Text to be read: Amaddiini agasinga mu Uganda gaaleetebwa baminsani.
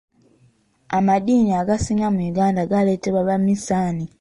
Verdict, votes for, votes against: rejected, 1, 2